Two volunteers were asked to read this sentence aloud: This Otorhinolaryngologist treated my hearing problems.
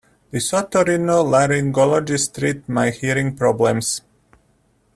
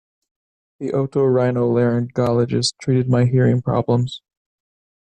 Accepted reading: second